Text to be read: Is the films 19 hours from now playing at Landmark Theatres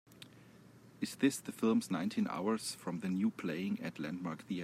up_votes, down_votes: 0, 2